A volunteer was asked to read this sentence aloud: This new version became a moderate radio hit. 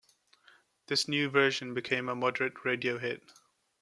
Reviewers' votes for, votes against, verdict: 2, 0, accepted